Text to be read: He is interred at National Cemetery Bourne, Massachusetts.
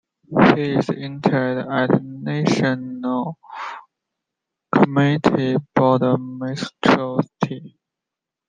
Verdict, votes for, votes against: accepted, 2, 0